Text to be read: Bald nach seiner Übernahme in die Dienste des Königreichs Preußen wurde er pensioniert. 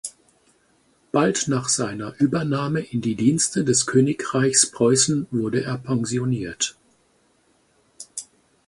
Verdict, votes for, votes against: accepted, 4, 0